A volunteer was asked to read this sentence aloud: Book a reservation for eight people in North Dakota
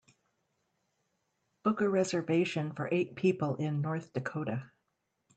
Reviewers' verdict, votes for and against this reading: accepted, 2, 0